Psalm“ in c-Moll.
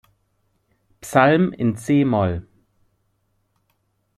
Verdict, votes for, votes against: accepted, 2, 0